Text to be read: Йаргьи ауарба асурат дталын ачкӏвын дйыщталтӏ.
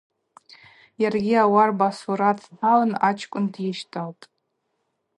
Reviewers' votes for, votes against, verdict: 4, 0, accepted